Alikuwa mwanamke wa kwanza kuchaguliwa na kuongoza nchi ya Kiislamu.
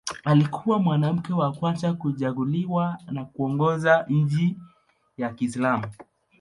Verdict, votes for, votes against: accepted, 2, 0